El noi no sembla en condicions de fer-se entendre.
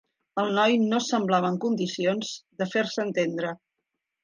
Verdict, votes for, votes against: rejected, 0, 3